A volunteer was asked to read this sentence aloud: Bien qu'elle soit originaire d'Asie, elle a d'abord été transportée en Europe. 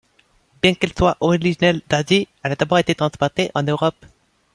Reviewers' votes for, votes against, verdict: 2, 0, accepted